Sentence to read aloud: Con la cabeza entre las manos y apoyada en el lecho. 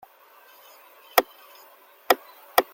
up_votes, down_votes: 0, 2